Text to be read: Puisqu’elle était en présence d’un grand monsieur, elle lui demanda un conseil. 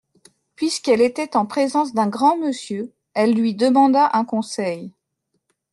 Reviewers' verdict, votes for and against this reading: accepted, 2, 0